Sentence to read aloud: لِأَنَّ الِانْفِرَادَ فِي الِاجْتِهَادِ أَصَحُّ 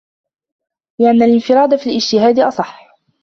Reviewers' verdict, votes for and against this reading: accepted, 2, 1